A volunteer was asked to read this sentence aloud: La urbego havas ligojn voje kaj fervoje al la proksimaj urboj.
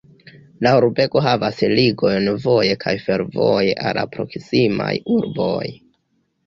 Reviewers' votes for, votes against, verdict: 0, 2, rejected